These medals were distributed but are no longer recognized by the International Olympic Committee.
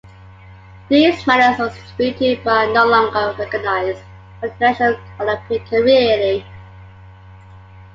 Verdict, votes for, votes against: rejected, 1, 3